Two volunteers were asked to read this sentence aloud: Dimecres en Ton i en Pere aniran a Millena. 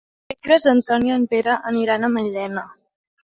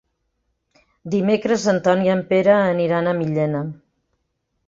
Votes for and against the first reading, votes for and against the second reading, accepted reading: 0, 2, 3, 0, second